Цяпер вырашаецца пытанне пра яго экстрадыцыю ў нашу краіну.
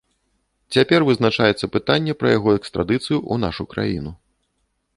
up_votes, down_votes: 0, 2